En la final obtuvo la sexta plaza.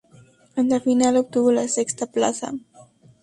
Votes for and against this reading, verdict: 0, 2, rejected